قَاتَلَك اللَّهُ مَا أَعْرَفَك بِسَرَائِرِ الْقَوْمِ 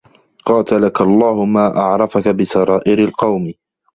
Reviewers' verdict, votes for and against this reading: accepted, 2, 0